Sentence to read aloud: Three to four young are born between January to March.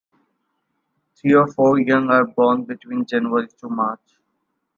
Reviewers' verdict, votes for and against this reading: accepted, 2, 0